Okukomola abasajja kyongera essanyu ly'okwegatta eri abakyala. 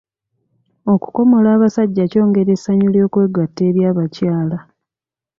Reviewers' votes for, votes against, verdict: 1, 2, rejected